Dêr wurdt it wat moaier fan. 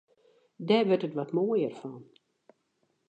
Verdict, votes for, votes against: accepted, 2, 0